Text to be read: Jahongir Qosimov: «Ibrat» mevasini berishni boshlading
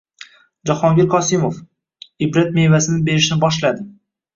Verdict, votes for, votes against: rejected, 1, 2